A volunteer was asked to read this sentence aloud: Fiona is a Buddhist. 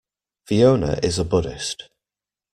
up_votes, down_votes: 2, 0